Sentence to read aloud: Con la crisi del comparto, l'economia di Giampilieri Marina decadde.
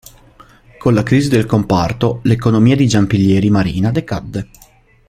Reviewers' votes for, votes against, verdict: 2, 0, accepted